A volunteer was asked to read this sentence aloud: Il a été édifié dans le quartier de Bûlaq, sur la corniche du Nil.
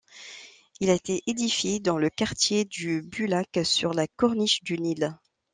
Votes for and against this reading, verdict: 1, 2, rejected